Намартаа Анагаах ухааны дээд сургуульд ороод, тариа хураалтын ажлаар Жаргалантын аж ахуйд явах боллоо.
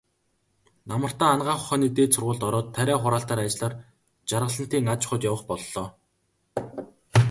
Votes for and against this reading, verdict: 2, 0, accepted